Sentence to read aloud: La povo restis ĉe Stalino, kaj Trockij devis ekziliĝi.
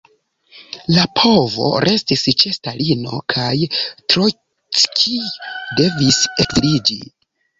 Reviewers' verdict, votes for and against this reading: rejected, 1, 2